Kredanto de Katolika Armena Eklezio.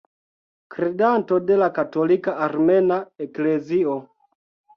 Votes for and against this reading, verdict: 0, 2, rejected